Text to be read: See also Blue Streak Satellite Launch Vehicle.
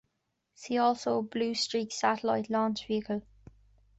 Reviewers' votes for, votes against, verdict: 2, 0, accepted